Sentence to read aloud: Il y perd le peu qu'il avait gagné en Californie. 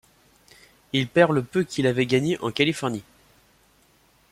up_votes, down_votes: 0, 2